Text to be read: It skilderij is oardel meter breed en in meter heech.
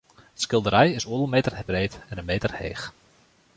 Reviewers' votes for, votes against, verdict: 1, 2, rejected